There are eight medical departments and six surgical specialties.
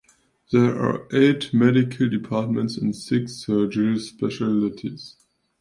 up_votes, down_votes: 1, 2